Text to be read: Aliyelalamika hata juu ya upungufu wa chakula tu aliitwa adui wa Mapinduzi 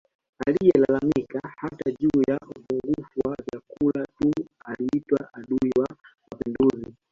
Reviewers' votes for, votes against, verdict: 0, 2, rejected